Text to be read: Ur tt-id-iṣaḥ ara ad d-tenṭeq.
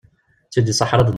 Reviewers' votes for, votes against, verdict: 0, 2, rejected